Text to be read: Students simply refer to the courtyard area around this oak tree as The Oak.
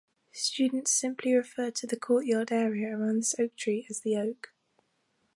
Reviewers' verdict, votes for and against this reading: accepted, 2, 0